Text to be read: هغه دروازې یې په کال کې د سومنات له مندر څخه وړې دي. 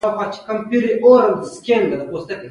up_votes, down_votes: 1, 2